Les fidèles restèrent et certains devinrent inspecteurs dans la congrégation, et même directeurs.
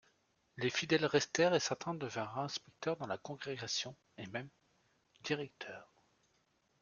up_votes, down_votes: 1, 2